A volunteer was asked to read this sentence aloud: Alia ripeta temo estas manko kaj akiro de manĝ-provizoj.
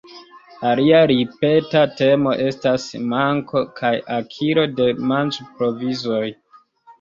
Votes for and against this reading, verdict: 2, 3, rejected